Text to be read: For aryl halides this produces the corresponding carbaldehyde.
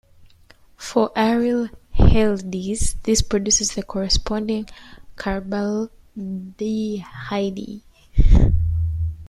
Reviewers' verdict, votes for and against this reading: rejected, 1, 2